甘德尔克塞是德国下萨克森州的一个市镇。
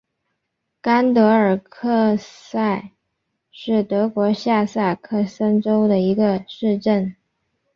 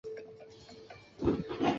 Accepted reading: first